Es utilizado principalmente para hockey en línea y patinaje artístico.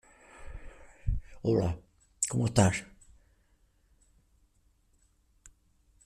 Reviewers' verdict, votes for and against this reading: rejected, 0, 2